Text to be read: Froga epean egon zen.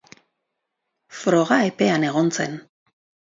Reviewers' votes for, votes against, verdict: 4, 0, accepted